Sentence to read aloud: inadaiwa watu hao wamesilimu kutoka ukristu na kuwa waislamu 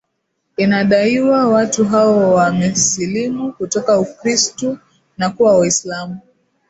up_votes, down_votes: 2, 0